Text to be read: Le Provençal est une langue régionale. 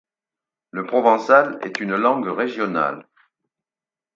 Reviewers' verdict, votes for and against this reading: accepted, 4, 0